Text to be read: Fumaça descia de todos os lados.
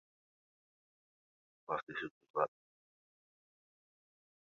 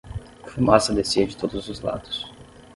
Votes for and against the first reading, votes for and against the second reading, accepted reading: 0, 2, 6, 0, second